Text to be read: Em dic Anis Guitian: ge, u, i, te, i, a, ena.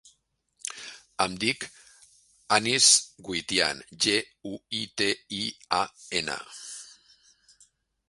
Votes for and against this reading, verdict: 0, 2, rejected